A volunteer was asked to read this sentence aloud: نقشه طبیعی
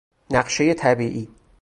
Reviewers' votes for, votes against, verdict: 2, 2, rejected